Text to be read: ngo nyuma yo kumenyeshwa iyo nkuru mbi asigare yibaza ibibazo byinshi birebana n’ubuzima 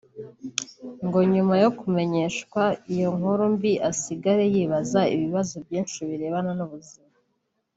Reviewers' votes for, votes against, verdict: 2, 1, accepted